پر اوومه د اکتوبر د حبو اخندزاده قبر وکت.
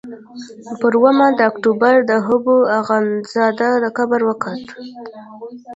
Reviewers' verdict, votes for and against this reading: rejected, 0, 2